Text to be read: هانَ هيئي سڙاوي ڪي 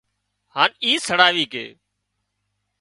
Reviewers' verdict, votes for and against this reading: rejected, 0, 2